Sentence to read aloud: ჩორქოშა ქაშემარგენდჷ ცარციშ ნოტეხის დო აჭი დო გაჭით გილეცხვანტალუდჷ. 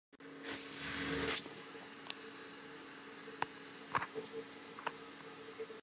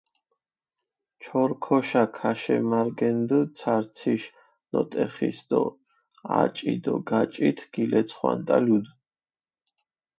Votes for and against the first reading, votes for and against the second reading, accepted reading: 0, 2, 4, 0, second